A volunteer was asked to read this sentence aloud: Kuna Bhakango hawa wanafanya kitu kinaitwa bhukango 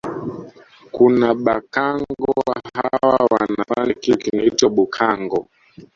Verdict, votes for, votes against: rejected, 1, 2